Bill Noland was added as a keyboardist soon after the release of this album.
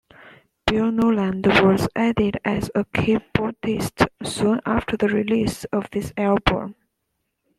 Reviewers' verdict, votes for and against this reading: accepted, 2, 1